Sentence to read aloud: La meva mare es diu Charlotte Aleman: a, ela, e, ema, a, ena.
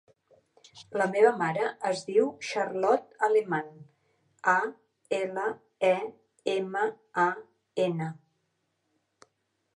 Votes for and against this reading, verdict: 3, 1, accepted